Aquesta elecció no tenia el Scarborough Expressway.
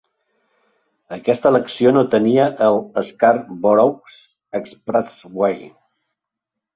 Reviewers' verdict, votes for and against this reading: rejected, 1, 2